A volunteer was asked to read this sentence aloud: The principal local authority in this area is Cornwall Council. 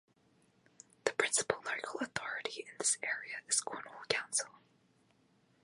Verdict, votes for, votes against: rejected, 1, 2